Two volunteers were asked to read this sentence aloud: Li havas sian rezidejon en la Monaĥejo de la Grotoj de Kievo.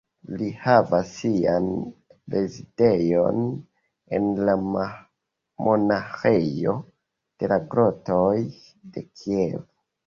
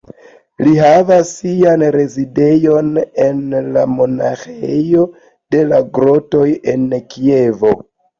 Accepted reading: second